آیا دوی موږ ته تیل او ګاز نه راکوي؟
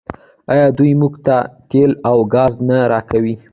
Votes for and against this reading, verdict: 0, 2, rejected